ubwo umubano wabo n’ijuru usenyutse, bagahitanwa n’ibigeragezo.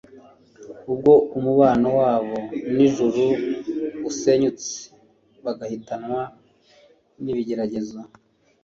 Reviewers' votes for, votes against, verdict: 3, 0, accepted